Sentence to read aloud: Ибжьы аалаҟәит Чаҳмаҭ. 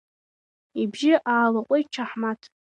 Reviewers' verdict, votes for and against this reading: rejected, 1, 2